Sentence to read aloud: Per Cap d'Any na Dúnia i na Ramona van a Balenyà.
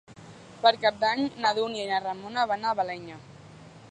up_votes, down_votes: 2, 0